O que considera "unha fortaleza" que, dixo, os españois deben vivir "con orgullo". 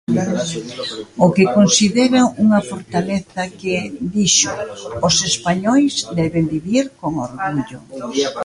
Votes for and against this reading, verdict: 0, 2, rejected